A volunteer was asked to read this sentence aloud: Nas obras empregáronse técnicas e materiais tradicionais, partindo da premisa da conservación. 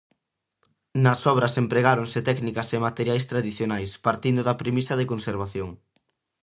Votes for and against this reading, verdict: 0, 2, rejected